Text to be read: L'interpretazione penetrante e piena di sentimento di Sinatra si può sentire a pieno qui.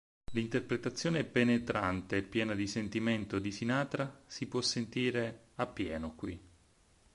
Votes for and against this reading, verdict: 6, 0, accepted